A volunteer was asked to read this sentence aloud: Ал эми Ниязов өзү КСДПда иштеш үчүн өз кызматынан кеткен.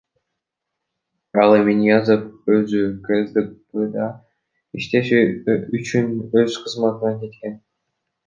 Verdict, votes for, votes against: rejected, 1, 2